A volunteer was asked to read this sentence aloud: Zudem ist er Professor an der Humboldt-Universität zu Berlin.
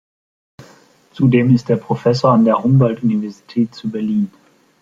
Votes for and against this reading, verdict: 2, 0, accepted